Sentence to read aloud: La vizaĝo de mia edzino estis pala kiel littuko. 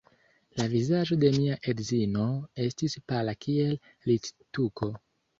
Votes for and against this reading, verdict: 2, 0, accepted